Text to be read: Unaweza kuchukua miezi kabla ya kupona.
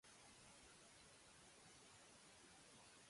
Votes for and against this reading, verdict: 1, 2, rejected